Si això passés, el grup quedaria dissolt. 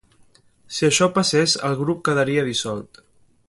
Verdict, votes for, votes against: accepted, 2, 0